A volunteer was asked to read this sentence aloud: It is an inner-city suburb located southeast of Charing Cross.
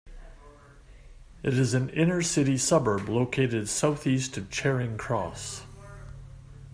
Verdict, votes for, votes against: accepted, 2, 0